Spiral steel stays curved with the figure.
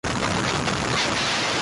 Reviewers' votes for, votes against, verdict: 0, 2, rejected